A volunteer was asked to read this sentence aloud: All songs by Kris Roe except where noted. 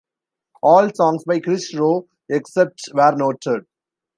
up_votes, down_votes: 0, 2